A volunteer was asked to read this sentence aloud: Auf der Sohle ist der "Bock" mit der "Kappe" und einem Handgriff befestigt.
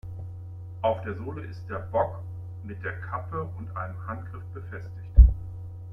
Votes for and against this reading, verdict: 2, 1, accepted